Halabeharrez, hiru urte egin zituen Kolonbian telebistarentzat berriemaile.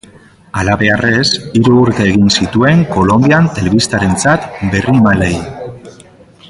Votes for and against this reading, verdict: 0, 2, rejected